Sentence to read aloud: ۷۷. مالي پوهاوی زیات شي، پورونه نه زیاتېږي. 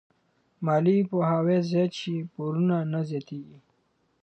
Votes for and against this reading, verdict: 0, 2, rejected